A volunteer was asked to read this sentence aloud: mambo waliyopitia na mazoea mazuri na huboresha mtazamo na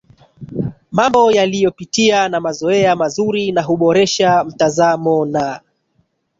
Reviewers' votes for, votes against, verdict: 2, 1, accepted